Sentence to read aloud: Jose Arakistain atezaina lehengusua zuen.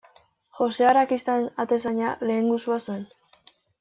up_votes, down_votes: 0, 2